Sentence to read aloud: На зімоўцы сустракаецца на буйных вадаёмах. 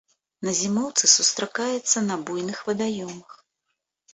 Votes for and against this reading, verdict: 3, 0, accepted